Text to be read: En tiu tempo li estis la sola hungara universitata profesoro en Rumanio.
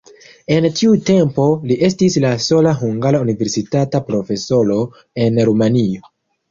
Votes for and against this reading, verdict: 2, 1, accepted